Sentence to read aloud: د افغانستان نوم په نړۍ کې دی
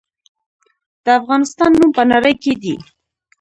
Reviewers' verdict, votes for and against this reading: rejected, 0, 2